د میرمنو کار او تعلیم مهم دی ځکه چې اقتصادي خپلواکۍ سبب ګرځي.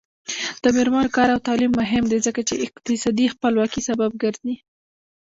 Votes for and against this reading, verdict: 0, 2, rejected